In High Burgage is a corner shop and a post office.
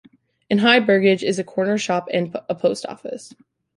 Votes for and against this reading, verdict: 1, 2, rejected